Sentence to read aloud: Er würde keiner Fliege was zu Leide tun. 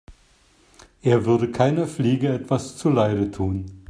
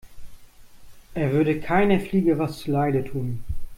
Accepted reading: second